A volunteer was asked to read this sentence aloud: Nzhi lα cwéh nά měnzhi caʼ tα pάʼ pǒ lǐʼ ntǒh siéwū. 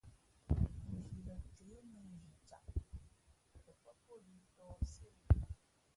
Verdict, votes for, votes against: rejected, 0, 2